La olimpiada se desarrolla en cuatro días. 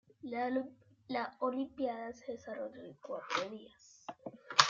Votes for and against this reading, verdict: 1, 2, rejected